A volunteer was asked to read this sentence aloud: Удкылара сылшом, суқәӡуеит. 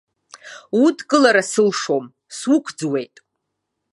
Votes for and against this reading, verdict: 2, 0, accepted